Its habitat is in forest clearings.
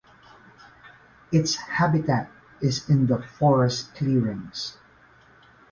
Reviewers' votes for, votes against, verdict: 0, 2, rejected